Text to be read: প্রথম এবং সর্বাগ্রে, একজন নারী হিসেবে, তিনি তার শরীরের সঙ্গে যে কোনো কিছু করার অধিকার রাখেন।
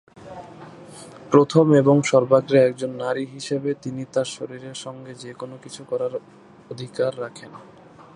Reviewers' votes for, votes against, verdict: 0, 2, rejected